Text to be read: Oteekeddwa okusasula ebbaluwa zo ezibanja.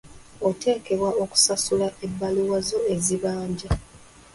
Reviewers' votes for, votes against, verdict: 0, 2, rejected